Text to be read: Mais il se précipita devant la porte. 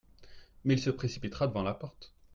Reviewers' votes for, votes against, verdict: 0, 2, rejected